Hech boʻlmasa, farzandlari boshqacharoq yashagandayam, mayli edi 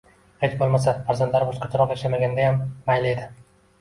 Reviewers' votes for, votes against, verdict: 0, 2, rejected